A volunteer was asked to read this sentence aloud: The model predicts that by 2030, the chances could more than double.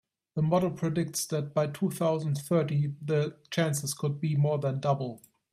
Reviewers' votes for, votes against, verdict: 0, 2, rejected